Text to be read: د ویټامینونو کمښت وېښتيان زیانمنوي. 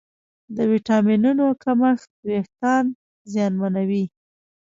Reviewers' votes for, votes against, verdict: 2, 1, accepted